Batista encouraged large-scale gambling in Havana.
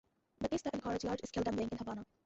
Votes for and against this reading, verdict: 0, 2, rejected